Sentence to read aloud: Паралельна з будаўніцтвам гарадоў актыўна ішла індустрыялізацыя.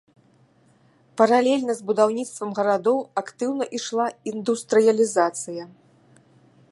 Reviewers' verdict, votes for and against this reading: accepted, 2, 0